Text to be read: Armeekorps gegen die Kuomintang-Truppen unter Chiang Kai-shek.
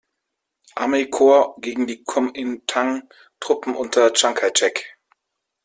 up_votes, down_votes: 1, 2